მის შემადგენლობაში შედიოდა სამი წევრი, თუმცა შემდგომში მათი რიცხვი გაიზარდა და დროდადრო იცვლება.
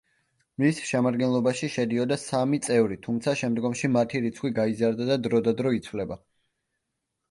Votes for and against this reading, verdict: 2, 0, accepted